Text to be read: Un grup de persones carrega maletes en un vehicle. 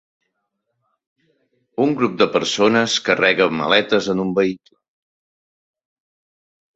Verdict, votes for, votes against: rejected, 1, 2